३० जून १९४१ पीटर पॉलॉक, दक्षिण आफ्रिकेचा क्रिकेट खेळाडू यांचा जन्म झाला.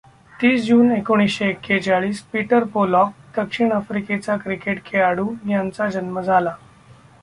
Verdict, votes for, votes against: rejected, 0, 2